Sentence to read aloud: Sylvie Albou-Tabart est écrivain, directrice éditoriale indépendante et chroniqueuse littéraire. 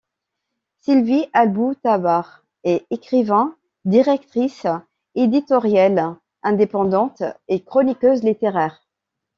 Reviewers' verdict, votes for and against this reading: rejected, 1, 2